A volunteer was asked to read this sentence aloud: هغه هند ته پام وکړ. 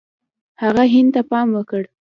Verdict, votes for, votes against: rejected, 0, 2